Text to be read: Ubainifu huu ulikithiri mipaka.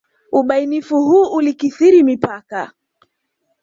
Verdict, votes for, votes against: accepted, 2, 0